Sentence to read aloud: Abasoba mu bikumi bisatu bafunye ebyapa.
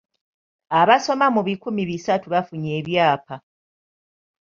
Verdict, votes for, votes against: rejected, 0, 3